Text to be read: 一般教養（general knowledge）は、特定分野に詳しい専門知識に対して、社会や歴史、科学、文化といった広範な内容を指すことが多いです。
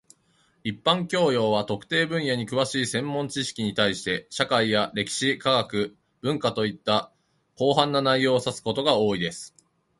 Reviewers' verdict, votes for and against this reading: accepted, 2, 1